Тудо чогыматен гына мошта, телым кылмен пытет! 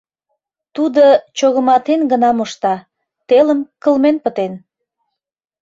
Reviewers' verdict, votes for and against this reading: rejected, 0, 2